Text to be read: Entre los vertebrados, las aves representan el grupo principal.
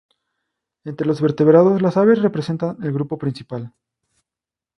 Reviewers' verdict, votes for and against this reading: accepted, 2, 0